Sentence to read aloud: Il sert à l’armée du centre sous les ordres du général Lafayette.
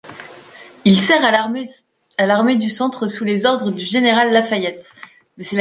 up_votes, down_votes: 0, 2